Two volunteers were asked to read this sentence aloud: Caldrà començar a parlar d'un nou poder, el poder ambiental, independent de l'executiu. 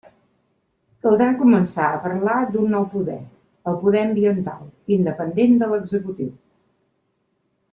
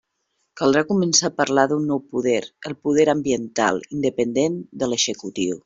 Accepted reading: first